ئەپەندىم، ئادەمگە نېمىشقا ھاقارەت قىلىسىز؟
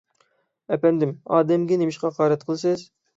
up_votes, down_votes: 6, 0